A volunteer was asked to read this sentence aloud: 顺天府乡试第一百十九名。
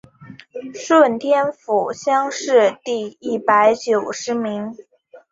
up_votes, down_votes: 2, 0